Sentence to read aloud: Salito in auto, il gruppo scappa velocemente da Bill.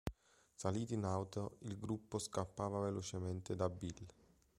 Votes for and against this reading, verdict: 0, 2, rejected